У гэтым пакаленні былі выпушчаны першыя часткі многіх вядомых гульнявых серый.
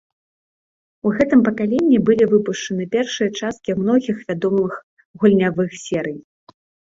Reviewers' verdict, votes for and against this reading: rejected, 1, 2